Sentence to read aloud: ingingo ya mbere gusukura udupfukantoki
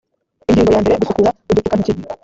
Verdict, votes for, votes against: rejected, 1, 2